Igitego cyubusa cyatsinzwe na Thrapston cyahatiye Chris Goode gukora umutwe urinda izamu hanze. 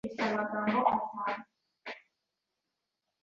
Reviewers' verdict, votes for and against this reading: rejected, 0, 2